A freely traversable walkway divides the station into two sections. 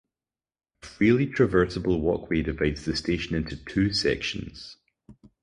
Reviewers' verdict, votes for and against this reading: rejected, 2, 2